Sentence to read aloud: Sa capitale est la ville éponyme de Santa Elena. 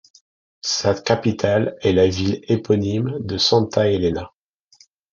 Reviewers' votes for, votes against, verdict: 2, 0, accepted